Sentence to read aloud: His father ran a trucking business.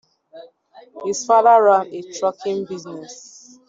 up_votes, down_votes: 1, 2